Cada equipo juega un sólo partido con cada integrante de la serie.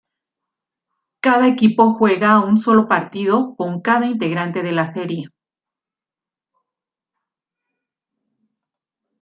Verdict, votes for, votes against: accepted, 3, 1